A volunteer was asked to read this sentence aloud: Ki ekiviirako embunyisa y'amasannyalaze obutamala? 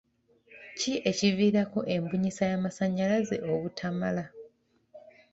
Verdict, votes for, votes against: accepted, 2, 0